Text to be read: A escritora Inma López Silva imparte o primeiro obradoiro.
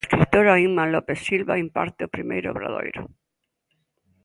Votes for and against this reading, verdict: 1, 2, rejected